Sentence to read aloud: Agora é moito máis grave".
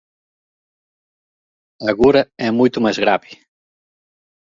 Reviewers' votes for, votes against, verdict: 1, 2, rejected